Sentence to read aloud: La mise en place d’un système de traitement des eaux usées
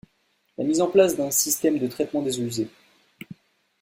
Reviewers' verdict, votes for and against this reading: accepted, 2, 0